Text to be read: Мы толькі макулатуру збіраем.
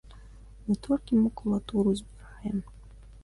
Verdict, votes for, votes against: rejected, 1, 2